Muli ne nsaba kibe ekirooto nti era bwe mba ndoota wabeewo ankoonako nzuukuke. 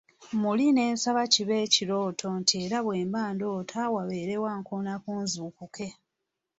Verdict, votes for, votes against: accepted, 2, 0